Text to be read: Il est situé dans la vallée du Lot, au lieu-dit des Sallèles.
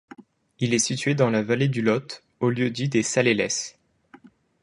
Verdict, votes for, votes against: rejected, 1, 2